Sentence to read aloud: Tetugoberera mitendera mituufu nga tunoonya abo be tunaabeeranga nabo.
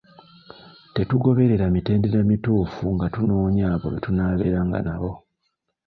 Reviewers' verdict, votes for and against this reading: rejected, 0, 2